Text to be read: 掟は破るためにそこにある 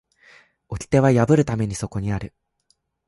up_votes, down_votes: 3, 0